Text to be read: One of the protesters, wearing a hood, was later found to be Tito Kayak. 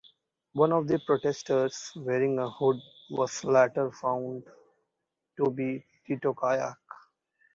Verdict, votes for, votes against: accepted, 3, 1